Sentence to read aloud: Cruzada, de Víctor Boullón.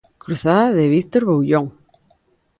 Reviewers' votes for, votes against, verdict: 2, 0, accepted